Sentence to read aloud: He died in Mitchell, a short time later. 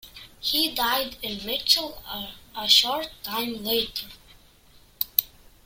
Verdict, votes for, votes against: accepted, 2, 0